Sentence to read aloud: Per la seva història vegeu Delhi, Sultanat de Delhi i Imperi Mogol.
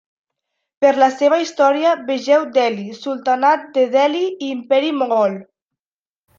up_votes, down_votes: 2, 0